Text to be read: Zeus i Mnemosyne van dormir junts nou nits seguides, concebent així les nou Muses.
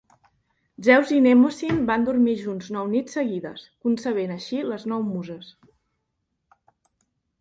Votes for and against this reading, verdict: 2, 0, accepted